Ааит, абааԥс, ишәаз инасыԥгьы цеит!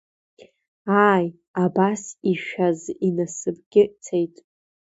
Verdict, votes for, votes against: rejected, 1, 2